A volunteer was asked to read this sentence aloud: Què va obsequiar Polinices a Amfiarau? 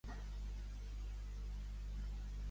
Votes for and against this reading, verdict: 0, 3, rejected